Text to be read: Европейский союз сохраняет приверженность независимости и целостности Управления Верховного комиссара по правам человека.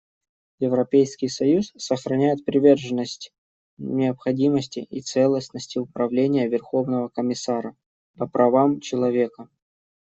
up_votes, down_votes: 0, 2